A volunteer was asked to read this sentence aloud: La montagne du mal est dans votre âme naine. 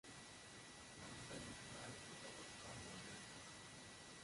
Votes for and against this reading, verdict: 0, 2, rejected